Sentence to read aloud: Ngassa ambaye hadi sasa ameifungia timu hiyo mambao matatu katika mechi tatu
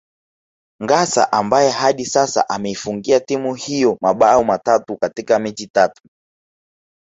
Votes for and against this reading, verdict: 2, 0, accepted